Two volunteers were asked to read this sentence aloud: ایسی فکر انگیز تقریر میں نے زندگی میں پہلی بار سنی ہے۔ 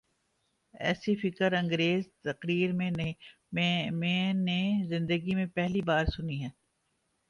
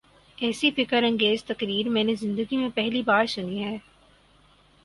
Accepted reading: second